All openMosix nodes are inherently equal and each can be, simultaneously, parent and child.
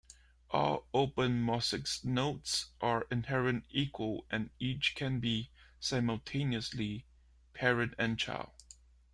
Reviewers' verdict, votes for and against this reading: accepted, 2, 0